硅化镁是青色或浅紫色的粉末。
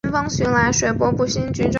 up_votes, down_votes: 0, 2